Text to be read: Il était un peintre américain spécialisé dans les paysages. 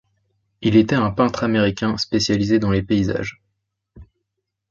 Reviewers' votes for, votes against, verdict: 2, 0, accepted